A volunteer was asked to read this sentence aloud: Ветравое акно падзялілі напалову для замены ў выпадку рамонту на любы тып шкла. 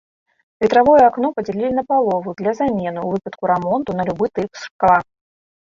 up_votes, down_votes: 1, 2